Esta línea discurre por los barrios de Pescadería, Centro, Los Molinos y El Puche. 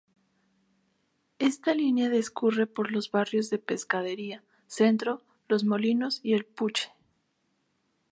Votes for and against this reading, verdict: 2, 0, accepted